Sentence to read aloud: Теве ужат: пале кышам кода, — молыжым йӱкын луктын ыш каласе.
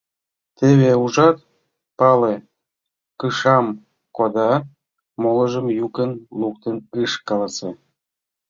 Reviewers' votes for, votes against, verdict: 0, 2, rejected